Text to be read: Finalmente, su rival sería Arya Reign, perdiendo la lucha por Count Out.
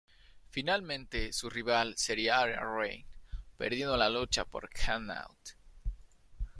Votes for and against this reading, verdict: 1, 2, rejected